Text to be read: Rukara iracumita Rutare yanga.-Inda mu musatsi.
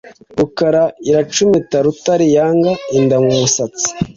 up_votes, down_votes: 2, 0